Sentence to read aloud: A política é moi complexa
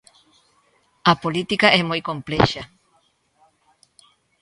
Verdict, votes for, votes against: accepted, 2, 0